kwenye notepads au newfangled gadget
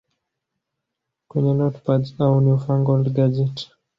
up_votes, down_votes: 2, 1